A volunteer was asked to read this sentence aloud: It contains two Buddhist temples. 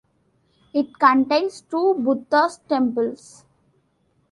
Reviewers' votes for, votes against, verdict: 0, 2, rejected